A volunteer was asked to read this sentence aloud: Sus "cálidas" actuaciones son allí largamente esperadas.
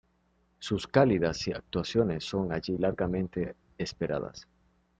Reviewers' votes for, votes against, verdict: 1, 2, rejected